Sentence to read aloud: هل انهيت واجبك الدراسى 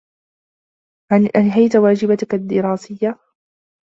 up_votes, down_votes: 0, 2